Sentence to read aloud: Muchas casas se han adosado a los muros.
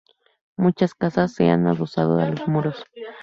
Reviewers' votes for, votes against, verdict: 0, 2, rejected